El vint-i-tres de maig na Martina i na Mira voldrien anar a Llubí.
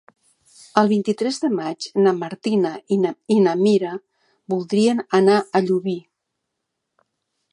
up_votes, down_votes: 2, 4